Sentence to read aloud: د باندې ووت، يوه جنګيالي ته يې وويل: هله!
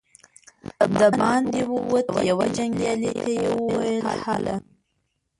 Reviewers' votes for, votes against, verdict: 0, 2, rejected